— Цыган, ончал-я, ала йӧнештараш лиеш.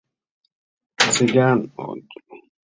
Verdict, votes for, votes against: rejected, 0, 2